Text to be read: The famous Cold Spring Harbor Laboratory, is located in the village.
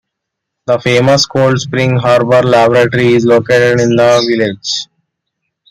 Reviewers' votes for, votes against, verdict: 1, 2, rejected